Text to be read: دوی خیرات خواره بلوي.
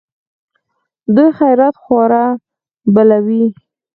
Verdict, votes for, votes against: accepted, 4, 0